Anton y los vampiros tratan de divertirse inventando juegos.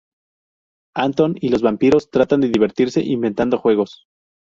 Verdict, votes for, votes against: rejected, 2, 2